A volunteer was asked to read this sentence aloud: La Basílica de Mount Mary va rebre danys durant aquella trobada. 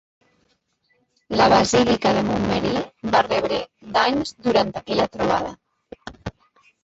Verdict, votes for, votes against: rejected, 0, 2